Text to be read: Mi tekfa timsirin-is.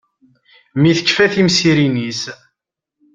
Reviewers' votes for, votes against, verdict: 2, 0, accepted